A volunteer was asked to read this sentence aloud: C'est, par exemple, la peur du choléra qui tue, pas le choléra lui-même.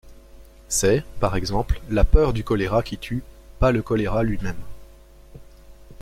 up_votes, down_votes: 2, 0